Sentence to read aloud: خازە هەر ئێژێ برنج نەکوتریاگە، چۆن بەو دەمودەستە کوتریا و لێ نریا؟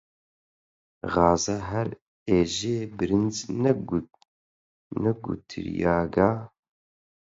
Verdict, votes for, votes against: rejected, 0, 4